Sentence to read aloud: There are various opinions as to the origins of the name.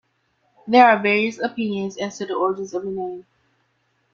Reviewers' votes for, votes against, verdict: 2, 1, accepted